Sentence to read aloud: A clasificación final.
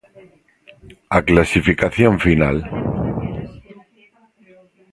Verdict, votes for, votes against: rejected, 0, 2